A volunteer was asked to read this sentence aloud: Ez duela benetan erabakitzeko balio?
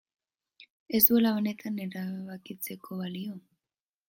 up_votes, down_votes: 0, 2